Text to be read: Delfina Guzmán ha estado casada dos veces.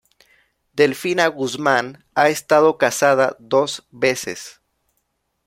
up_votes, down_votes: 2, 0